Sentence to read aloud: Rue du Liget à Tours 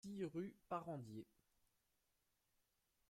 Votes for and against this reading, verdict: 1, 2, rejected